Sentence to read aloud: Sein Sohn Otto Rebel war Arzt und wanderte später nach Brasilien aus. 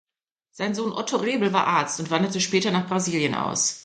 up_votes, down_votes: 3, 0